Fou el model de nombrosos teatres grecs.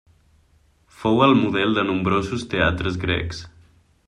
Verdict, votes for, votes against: accepted, 3, 0